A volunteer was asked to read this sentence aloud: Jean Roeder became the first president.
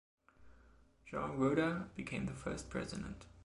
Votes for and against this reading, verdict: 1, 2, rejected